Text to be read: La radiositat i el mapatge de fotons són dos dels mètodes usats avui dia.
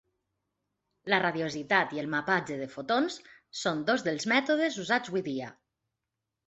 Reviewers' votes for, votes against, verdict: 2, 1, accepted